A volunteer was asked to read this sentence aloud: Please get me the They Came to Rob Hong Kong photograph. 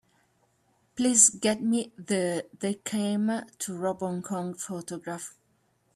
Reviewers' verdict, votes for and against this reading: rejected, 0, 2